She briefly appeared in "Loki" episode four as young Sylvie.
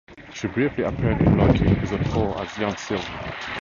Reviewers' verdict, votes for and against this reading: rejected, 2, 2